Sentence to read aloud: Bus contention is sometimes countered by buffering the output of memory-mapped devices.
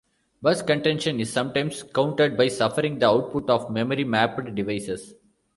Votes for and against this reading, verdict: 0, 2, rejected